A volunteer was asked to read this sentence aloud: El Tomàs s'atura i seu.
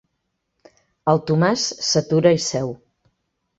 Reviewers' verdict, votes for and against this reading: accepted, 3, 0